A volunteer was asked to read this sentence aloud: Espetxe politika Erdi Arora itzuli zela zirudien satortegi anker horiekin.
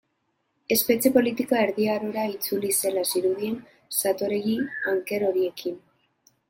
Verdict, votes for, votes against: rejected, 1, 2